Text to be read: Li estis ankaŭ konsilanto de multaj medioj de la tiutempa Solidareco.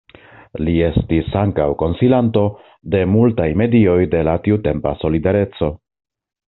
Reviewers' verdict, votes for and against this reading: accepted, 2, 1